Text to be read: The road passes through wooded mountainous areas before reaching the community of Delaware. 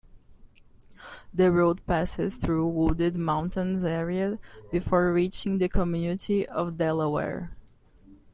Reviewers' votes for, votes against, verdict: 1, 2, rejected